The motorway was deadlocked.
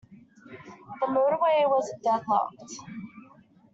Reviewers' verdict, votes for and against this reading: accepted, 2, 1